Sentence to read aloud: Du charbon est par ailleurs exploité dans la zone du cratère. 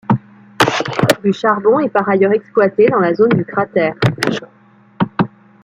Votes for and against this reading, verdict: 1, 2, rejected